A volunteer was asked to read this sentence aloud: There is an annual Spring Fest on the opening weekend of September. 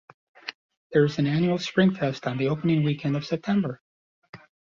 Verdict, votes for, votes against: accepted, 2, 0